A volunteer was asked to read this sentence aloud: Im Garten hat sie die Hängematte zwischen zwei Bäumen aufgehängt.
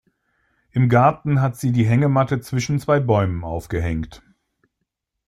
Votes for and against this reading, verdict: 2, 0, accepted